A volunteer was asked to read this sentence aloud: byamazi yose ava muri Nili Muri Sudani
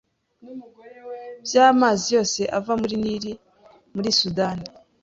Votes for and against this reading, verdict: 2, 0, accepted